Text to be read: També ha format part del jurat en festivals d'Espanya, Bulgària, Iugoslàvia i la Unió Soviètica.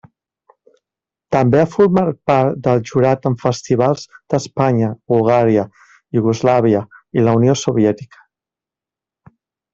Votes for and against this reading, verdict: 2, 0, accepted